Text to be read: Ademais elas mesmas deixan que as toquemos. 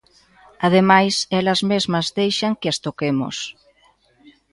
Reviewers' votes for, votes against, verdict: 1, 2, rejected